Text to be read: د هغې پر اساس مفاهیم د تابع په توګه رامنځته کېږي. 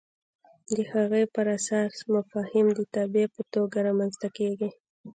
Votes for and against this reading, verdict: 1, 2, rejected